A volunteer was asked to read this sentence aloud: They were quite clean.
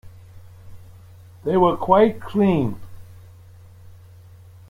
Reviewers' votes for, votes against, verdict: 2, 0, accepted